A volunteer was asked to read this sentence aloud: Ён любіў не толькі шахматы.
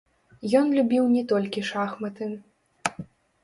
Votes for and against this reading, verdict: 0, 2, rejected